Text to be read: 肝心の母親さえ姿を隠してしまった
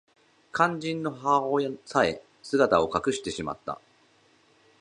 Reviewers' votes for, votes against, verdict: 2, 0, accepted